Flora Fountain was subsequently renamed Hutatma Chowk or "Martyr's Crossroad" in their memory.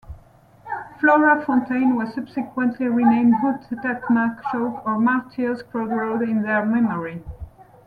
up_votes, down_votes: 1, 2